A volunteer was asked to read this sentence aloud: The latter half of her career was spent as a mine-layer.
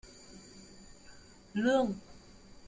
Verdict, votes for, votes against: rejected, 0, 2